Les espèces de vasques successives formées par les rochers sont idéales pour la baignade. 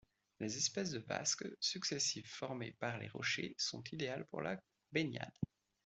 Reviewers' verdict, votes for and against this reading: accepted, 2, 0